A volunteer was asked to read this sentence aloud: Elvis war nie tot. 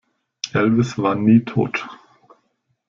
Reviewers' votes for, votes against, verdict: 2, 0, accepted